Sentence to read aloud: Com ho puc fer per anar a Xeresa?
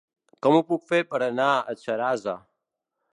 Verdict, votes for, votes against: rejected, 1, 2